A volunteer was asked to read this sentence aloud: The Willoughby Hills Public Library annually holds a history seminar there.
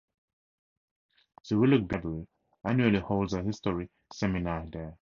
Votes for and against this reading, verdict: 0, 2, rejected